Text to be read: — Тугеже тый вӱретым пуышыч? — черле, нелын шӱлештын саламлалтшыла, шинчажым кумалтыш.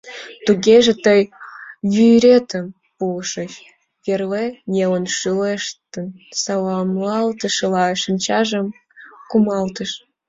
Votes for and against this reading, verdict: 0, 2, rejected